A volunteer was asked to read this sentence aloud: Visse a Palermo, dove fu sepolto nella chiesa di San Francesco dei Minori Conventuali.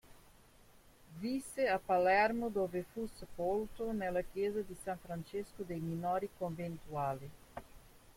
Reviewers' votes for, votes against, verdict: 0, 2, rejected